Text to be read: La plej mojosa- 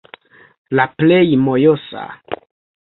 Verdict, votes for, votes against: rejected, 1, 2